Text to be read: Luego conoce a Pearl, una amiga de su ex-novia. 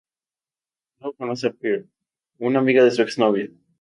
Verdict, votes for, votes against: accepted, 2, 0